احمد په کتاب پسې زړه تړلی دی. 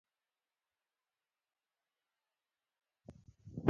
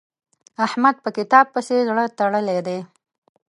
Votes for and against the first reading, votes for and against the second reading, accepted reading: 1, 2, 2, 0, second